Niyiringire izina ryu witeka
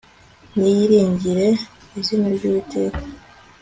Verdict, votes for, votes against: accepted, 2, 0